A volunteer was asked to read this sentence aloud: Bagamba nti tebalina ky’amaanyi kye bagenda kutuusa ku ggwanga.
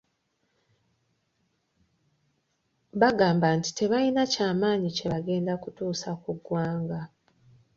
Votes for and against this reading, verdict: 2, 1, accepted